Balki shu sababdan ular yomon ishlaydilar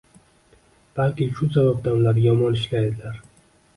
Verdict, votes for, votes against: accepted, 2, 1